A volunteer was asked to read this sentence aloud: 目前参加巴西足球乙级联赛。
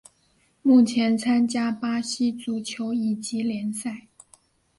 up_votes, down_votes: 4, 0